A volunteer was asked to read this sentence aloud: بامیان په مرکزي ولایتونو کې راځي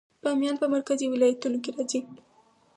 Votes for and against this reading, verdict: 2, 4, rejected